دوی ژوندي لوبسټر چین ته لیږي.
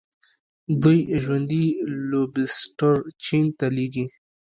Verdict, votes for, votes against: rejected, 0, 2